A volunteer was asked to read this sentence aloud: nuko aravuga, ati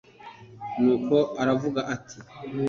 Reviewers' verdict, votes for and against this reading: accepted, 2, 0